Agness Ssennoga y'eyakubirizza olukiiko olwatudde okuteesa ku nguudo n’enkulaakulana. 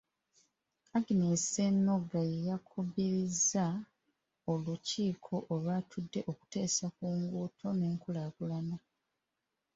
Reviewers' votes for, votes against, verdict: 2, 0, accepted